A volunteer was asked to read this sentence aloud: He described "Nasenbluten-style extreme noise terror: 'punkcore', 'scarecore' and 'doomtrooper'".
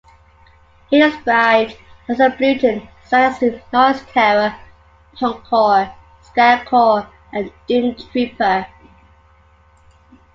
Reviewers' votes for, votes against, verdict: 0, 2, rejected